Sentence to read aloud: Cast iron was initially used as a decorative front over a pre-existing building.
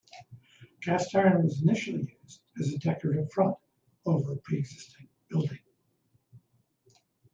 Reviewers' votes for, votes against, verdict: 0, 2, rejected